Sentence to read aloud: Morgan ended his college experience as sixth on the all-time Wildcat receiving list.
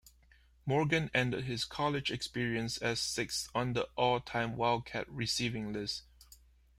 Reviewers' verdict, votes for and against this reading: accepted, 2, 0